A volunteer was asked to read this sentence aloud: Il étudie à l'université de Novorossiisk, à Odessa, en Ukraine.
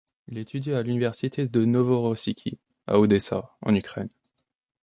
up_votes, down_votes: 1, 2